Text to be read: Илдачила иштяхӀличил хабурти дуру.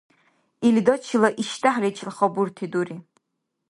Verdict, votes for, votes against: rejected, 1, 2